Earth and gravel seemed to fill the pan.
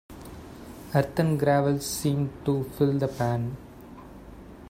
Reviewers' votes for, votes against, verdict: 2, 0, accepted